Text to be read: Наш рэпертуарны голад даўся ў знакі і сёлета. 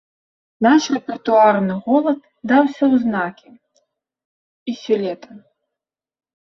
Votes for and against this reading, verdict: 1, 2, rejected